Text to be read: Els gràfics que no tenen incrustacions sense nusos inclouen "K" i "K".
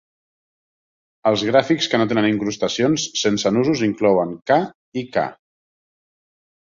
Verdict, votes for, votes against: accepted, 3, 0